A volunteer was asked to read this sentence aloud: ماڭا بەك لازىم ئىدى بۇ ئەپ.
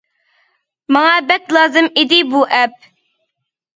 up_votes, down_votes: 2, 0